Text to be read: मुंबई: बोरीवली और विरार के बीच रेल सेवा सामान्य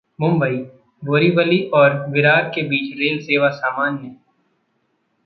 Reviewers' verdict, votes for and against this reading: accepted, 2, 0